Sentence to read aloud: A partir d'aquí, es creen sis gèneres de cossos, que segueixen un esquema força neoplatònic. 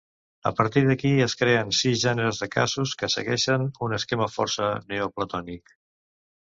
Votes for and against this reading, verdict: 0, 2, rejected